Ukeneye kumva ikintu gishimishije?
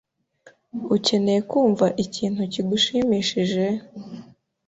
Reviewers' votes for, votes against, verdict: 1, 2, rejected